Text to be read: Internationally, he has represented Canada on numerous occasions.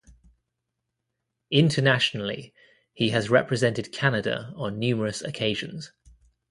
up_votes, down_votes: 2, 0